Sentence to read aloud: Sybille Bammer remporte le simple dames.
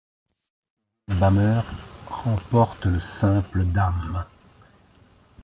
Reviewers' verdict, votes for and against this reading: rejected, 0, 2